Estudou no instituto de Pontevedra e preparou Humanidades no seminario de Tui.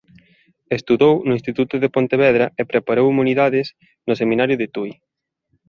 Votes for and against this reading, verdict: 1, 2, rejected